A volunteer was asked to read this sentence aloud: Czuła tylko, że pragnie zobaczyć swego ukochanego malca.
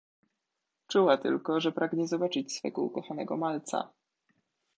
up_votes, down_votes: 2, 0